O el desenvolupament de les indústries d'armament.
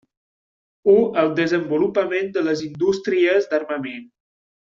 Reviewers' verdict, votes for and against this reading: rejected, 1, 2